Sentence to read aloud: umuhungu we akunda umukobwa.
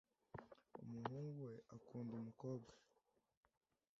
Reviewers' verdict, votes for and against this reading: accepted, 2, 1